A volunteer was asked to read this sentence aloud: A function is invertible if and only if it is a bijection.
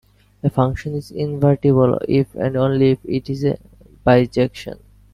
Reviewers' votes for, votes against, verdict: 2, 0, accepted